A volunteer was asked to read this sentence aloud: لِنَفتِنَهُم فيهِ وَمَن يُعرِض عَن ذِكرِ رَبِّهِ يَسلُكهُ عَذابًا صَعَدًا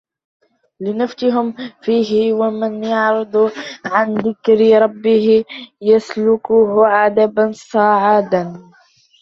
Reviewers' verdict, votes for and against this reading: rejected, 0, 2